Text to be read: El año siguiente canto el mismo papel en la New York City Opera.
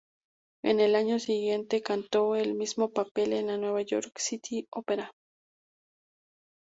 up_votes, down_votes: 2, 2